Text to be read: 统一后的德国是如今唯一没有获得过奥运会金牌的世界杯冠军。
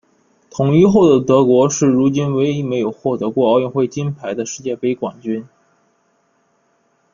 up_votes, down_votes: 2, 0